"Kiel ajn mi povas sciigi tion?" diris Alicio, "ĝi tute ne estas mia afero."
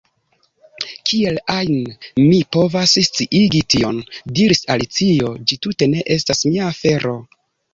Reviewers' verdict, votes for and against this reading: accepted, 2, 0